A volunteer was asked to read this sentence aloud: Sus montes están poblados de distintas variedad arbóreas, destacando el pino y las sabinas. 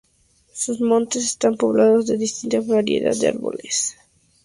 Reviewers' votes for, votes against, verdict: 2, 0, accepted